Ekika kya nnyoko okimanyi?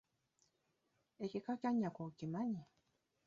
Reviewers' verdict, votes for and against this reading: accepted, 2, 0